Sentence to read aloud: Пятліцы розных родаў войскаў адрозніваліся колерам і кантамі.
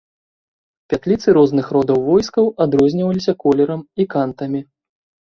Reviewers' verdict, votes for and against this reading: accepted, 3, 0